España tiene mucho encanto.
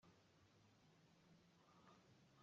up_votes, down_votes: 0, 2